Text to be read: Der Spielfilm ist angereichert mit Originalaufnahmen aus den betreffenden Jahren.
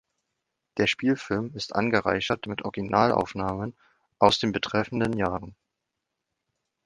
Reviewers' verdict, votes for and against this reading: accepted, 2, 0